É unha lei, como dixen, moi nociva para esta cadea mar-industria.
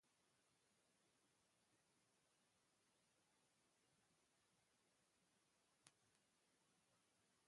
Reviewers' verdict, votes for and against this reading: rejected, 0, 2